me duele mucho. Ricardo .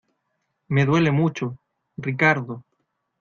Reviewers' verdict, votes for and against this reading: accepted, 2, 0